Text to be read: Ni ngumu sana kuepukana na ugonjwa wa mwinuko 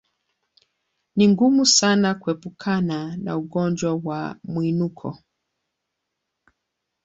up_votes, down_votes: 2, 0